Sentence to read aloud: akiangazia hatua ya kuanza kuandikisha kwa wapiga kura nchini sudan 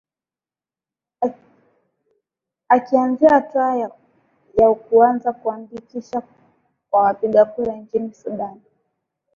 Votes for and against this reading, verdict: 2, 0, accepted